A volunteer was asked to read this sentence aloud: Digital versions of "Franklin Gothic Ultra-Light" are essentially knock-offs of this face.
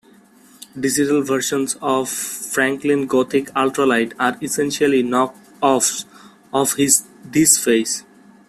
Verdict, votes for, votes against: accepted, 2, 1